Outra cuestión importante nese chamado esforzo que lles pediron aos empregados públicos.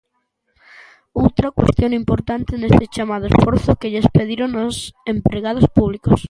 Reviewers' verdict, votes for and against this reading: rejected, 1, 2